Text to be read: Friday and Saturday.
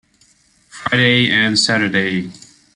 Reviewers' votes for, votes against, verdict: 2, 0, accepted